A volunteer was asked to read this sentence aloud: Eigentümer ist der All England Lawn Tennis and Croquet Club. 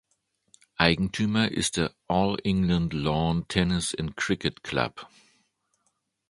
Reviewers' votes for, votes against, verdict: 1, 2, rejected